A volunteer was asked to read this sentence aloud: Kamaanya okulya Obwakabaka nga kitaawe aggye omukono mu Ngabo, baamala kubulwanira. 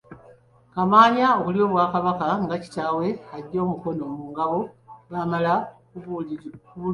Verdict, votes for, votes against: rejected, 0, 2